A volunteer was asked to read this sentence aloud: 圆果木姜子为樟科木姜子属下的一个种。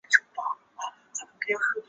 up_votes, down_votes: 0, 2